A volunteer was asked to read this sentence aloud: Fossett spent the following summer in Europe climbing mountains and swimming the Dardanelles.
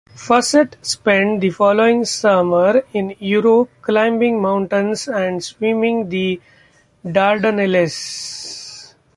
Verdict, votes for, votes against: accepted, 2, 0